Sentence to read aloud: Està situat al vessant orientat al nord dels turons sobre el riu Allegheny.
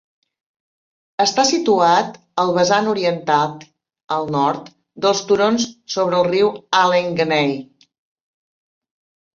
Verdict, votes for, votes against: rejected, 1, 2